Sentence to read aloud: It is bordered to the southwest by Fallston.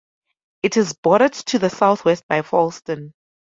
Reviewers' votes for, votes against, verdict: 2, 0, accepted